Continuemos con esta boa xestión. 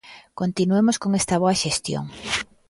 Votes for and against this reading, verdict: 2, 0, accepted